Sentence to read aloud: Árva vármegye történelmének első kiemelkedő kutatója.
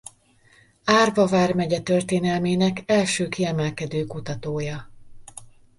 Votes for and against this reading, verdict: 2, 0, accepted